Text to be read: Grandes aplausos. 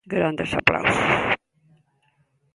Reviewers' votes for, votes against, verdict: 2, 1, accepted